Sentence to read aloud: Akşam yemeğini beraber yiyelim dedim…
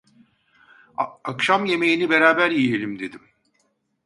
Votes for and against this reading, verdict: 0, 2, rejected